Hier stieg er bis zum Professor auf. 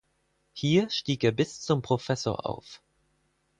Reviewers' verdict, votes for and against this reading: accepted, 4, 0